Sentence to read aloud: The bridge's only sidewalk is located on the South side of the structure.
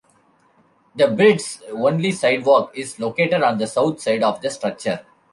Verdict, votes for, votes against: rejected, 0, 2